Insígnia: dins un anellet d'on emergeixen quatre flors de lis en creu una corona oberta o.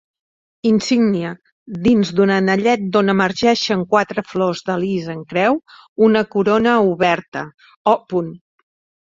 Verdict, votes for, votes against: rejected, 1, 2